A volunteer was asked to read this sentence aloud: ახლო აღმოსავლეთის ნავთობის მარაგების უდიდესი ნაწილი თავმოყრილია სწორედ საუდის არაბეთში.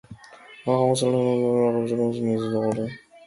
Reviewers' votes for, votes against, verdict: 0, 2, rejected